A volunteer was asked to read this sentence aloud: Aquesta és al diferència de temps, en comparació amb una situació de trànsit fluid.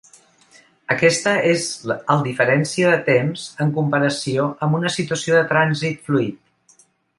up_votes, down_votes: 1, 2